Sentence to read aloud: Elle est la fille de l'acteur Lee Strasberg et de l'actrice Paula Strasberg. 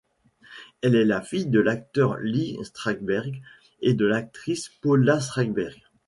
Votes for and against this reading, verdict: 2, 0, accepted